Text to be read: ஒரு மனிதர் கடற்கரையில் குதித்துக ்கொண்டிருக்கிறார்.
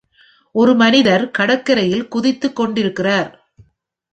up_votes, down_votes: 1, 2